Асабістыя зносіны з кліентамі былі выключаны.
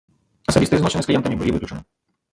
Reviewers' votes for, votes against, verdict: 0, 2, rejected